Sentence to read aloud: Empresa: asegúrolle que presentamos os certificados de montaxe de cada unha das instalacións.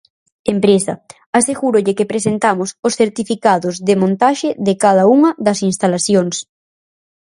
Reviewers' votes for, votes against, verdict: 4, 0, accepted